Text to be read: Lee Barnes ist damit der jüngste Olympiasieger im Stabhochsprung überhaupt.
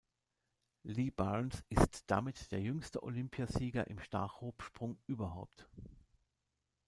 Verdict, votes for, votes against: rejected, 1, 2